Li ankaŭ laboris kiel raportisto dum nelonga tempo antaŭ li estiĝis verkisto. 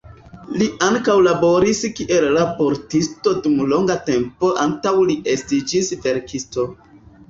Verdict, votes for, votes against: accepted, 3, 0